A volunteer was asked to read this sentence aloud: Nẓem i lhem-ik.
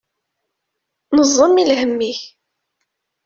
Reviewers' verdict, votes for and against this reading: accepted, 2, 0